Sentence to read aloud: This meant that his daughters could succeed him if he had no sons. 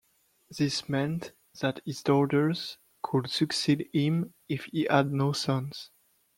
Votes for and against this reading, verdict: 2, 0, accepted